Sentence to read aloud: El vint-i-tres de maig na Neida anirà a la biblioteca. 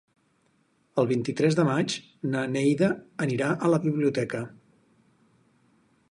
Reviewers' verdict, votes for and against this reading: accepted, 4, 0